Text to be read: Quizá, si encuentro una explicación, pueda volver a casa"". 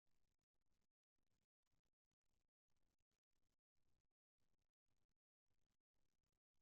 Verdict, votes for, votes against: rejected, 0, 2